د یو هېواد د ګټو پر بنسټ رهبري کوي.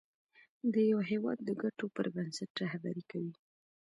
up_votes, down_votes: 2, 0